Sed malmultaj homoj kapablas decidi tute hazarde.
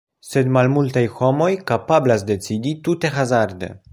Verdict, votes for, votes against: accepted, 2, 0